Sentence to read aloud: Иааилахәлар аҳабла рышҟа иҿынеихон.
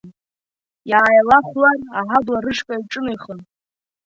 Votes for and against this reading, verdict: 2, 1, accepted